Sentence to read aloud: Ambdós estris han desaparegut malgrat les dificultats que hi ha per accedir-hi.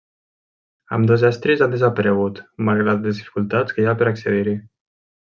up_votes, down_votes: 1, 2